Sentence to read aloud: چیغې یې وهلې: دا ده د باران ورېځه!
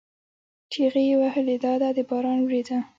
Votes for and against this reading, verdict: 2, 0, accepted